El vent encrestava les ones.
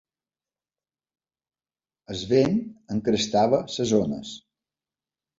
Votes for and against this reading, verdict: 1, 2, rejected